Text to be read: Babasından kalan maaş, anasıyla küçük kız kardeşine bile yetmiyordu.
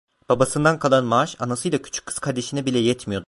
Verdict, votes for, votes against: rejected, 0, 2